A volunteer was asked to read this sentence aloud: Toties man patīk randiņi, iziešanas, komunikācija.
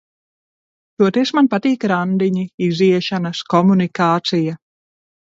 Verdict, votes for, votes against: accepted, 2, 0